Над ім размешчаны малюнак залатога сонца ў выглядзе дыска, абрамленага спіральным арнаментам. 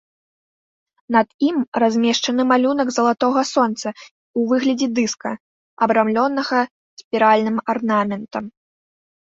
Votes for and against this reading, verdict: 1, 2, rejected